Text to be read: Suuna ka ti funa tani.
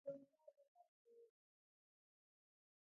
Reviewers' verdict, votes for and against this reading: rejected, 0, 2